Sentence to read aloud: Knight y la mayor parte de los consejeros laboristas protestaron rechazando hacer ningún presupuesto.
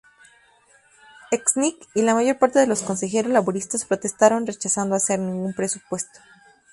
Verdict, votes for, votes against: accepted, 2, 0